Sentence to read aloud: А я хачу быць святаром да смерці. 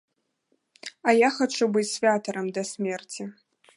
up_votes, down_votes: 0, 2